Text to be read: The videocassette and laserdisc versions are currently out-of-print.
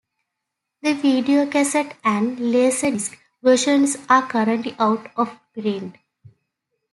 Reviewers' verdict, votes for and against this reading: accepted, 2, 1